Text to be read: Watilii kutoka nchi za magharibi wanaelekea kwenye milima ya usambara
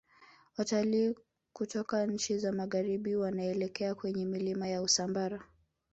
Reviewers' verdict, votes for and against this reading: accepted, 3, 1